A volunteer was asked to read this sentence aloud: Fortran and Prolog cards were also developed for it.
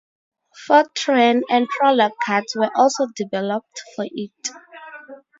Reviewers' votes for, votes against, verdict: 2, 2, rejected